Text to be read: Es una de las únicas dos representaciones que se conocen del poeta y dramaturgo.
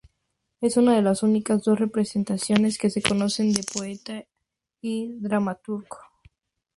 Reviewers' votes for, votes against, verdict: 2, 0, accepted